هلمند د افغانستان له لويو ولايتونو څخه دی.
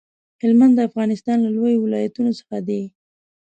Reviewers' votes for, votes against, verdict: 2, 0, accepted